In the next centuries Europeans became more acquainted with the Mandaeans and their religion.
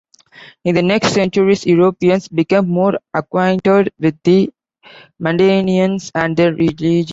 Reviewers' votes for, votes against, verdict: 0, 2, rejected